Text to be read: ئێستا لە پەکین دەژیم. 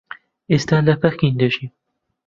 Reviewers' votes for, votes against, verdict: 2, 1, accepted